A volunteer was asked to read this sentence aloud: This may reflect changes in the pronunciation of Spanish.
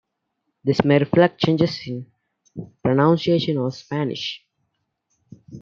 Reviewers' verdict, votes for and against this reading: accepted, 2, 0